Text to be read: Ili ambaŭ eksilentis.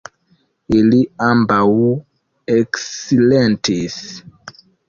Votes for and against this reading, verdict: 2, 1, accepted